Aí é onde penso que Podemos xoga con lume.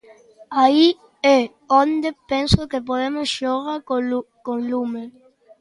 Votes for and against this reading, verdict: 0, 2, rejected